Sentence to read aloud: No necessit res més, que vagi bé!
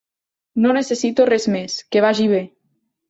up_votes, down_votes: 1, 2